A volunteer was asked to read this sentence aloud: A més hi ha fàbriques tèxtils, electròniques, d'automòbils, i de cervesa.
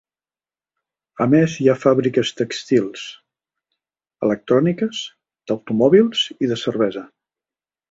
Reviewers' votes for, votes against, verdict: 0, 2, rejected